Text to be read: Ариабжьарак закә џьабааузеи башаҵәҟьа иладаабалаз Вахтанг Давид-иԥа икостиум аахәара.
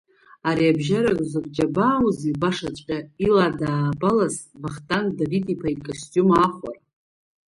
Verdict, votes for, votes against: rejected, 1, 2